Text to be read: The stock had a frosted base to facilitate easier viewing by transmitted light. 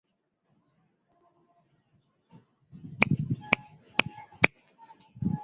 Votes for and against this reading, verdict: 0, 2, rejected